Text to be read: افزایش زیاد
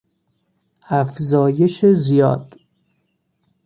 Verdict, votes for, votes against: accepted, 2, 0